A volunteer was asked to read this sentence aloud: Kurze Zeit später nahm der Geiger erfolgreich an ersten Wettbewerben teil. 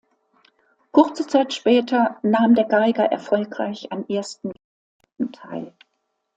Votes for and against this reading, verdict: 0, 2, rejected